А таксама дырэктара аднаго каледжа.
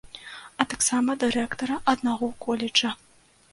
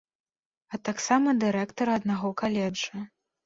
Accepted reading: second